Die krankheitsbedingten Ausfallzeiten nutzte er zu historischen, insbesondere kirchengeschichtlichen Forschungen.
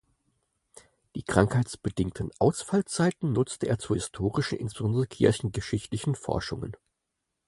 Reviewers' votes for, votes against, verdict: 0, 4, rejected